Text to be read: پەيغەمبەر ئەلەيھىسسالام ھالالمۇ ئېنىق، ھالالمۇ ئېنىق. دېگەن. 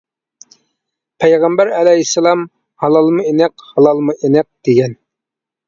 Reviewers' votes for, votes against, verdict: 2, 0, accepted